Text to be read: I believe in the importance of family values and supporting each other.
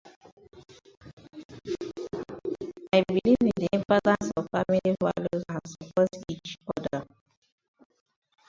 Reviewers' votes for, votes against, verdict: 15, 30, rejected